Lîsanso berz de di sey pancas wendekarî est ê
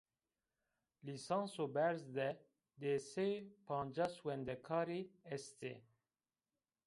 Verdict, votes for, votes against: accepted, 2, 0